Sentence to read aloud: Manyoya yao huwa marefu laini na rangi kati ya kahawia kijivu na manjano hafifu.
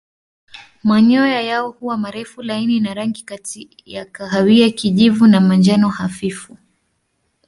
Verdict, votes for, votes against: accepted, 2, 0